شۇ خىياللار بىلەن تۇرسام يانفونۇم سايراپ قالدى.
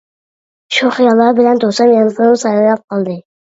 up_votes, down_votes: 1, 2